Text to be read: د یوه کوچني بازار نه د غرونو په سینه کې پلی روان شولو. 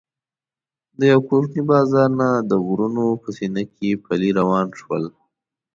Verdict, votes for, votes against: rejected, 1, 2